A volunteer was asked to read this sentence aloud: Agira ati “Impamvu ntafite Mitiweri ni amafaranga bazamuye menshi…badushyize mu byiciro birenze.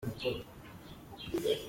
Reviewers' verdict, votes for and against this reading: rejected, 0, 2